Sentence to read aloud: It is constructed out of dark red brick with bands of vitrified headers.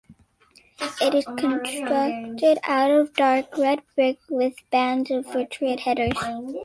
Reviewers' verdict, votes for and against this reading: accepted, 2, 0